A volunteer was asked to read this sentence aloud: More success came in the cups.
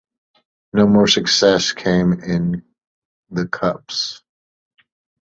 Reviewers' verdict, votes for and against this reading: rejected, 0, 2